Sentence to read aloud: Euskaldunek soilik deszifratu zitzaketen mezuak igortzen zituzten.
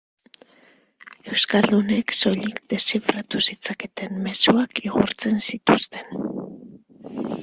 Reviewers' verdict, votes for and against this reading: rejected, 1, 2